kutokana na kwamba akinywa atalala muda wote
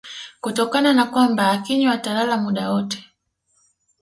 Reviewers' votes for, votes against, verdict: 2, 0, accepted